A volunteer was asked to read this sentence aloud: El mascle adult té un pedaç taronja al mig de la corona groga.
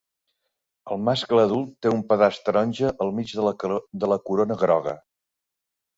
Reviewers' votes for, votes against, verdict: 1, 2, rejected